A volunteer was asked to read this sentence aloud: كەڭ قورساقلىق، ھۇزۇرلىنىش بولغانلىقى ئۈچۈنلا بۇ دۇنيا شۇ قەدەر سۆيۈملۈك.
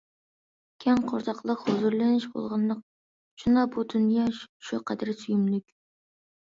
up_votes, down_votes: 1, 2